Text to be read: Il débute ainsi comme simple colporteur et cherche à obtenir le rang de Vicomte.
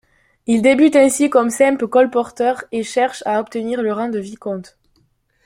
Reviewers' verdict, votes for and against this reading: accepted, 2, 0